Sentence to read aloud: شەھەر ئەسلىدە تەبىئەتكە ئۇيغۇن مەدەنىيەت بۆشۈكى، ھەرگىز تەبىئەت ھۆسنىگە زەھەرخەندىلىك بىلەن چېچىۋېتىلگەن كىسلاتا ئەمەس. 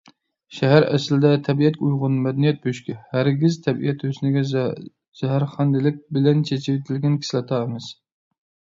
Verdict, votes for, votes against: rejected, 0, 2